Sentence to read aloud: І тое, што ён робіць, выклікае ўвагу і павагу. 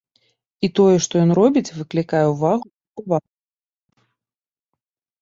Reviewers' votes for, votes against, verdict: 0, 2, rejected